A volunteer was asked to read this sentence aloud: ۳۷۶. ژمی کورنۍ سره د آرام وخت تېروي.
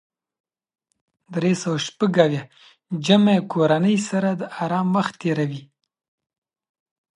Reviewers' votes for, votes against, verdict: 0, 2, rejected